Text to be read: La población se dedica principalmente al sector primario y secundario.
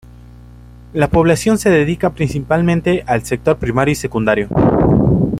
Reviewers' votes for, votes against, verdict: 1, 2, rejected